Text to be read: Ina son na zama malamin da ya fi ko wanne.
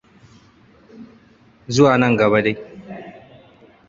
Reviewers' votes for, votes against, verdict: 0, 2, rejected